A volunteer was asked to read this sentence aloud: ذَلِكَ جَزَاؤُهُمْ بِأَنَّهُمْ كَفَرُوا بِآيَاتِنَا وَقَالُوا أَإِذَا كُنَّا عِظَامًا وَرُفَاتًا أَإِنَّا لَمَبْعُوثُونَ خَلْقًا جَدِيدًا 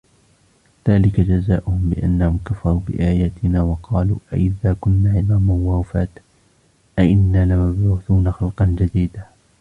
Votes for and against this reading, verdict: 0, 3, rejected